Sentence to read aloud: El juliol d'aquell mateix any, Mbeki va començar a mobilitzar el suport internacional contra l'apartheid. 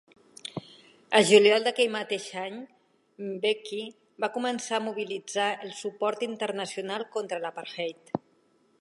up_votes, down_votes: 3, 0